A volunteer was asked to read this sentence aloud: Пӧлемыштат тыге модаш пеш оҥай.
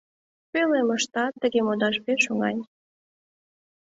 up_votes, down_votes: 2, 0